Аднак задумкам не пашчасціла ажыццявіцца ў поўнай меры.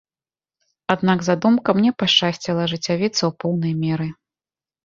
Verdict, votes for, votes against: accepted, 2, 1